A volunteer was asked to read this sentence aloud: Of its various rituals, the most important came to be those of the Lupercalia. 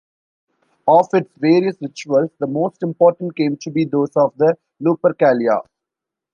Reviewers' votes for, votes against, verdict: 2, 0, accepted